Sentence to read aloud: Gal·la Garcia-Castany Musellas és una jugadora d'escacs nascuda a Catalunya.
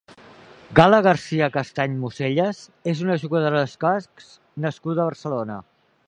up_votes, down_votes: 0, 2